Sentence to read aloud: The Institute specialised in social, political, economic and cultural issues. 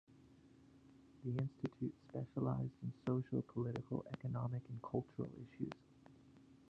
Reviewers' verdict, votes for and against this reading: rejected, 0, 2